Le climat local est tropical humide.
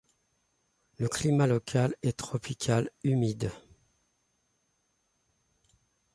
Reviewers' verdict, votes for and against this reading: accepted, 2, 0